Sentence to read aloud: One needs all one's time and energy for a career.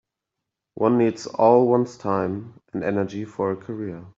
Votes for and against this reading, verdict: 2, 0, accepted